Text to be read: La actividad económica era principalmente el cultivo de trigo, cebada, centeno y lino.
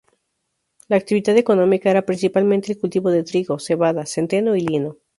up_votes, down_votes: 2, 0